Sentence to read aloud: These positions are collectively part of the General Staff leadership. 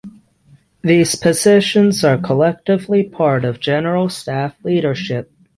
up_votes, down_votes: 0, 6